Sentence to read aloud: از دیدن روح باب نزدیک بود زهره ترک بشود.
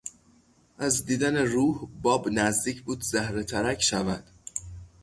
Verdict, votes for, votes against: rejected, 0, 3